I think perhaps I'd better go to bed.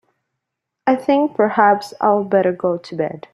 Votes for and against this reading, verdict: 2, 0, accepted